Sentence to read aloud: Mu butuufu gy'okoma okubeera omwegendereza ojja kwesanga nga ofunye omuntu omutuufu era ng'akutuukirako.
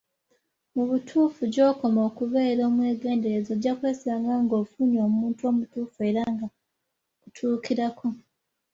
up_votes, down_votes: 1, 2